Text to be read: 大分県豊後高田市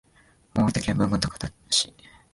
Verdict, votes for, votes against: rejected, 0, 2